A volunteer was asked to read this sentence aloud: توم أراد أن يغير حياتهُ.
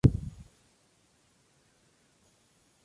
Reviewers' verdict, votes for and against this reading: rejected, 0, 2